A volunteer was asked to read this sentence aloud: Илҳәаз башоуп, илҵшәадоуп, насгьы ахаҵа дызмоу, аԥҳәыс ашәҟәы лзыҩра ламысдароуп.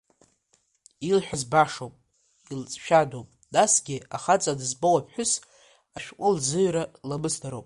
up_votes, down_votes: 2, 0